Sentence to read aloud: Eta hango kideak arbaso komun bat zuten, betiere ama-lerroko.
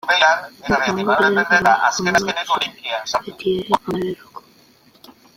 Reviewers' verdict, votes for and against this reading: rejected, 0, 2